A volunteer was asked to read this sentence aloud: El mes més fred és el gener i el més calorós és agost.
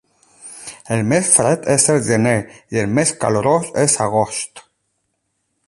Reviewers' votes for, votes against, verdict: 0, 8, rejected